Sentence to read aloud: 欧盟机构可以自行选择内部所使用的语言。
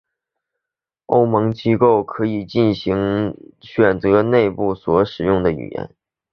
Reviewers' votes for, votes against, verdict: 7, 1, accepted